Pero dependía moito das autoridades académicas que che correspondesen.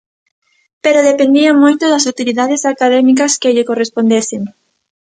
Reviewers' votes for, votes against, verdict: 0, 2, rejected